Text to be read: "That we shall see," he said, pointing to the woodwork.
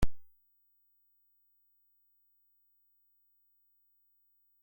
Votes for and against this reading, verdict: 0, 2, rejected